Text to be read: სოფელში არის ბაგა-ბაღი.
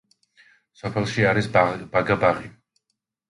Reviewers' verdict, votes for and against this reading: rejected, 0, 2